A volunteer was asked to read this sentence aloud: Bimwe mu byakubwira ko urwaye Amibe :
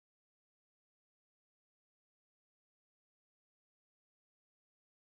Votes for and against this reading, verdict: 0, 2, rejected